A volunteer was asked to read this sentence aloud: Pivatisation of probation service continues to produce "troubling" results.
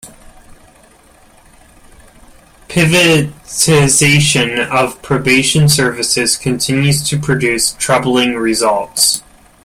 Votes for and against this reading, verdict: 0, 2, rejected